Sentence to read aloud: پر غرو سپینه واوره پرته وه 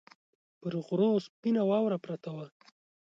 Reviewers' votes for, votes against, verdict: 2, 0, accepted